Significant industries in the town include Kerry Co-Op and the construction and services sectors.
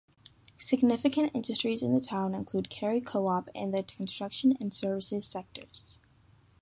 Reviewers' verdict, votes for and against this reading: rejected, 1, 2